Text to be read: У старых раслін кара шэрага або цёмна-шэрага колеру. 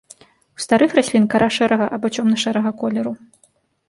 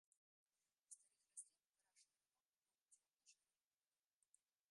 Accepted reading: first